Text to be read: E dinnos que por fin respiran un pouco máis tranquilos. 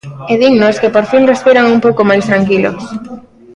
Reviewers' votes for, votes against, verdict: 2, 0, accepted